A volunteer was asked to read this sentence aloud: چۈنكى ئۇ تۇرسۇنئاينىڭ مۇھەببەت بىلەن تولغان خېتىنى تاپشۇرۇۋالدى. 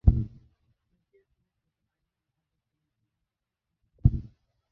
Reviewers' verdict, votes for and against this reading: rejected, 0, 2